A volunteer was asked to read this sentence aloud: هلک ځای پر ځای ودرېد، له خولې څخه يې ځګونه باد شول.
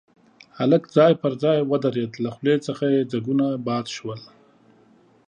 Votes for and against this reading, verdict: 2, 0, accepted